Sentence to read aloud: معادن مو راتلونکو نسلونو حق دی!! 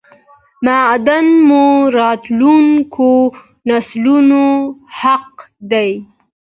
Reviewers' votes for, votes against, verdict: 2, 1, accepted